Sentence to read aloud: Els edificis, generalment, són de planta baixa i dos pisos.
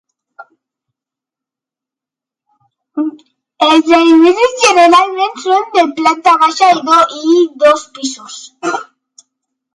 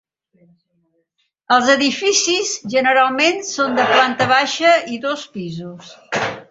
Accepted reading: second